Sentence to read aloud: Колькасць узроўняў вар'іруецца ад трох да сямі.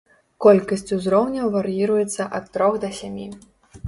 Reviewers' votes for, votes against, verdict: 2, 0, accepted